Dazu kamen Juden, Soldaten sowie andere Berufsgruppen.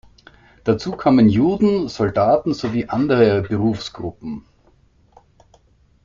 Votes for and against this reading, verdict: 2, 0, accepted